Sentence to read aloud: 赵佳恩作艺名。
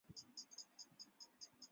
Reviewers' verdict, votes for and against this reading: rejected, 0, 3